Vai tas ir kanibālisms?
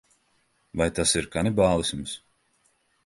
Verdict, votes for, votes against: accepted, 2, 0